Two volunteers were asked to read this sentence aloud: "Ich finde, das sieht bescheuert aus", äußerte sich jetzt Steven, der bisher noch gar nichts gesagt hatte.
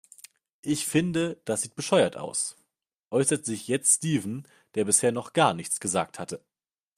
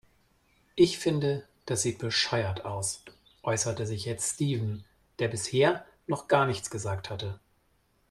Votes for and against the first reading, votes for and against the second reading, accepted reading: 1, 2, 2, 0, second